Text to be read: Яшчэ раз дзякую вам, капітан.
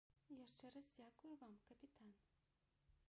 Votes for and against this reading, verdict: 0, 2, rejected